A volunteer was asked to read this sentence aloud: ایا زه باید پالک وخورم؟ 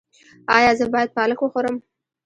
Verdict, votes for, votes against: rejected, 1, 2